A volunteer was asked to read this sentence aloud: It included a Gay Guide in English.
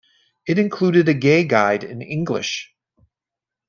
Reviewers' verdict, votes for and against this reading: accepted, 2, 1